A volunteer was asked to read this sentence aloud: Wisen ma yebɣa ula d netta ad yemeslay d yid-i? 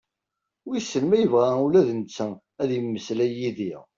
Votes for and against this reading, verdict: 2, 0, accepted